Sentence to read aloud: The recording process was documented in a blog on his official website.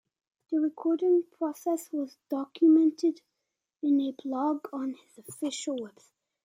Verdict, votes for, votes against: rejected, 0, 2